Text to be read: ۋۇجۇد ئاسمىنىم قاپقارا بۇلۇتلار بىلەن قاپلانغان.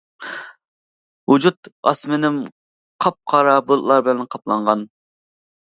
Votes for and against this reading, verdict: 2, 0, accepted